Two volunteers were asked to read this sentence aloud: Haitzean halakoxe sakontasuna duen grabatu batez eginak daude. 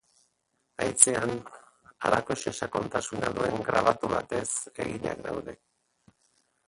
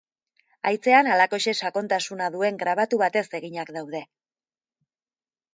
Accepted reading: second